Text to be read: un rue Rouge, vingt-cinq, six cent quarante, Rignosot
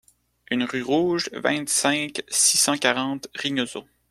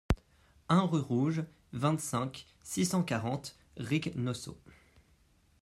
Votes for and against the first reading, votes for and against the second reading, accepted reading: 2, 1, 0, 2, first